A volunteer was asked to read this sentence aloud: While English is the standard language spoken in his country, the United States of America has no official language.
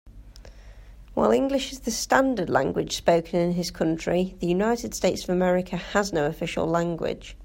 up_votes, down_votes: 2, 0